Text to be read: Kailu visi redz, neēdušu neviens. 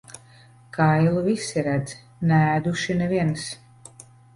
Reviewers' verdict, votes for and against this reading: rejected, 1, 2